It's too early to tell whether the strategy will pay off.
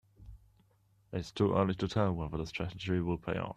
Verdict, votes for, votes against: accepted, 2, 0